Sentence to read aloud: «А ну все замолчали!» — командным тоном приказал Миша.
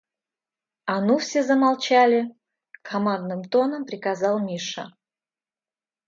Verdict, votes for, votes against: accepted, 2, 0